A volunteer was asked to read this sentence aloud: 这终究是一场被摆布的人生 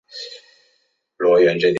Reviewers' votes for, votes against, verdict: 1, 3, rejected